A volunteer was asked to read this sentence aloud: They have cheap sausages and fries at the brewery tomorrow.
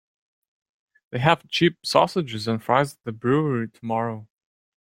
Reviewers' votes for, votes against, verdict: 3, 0, accepted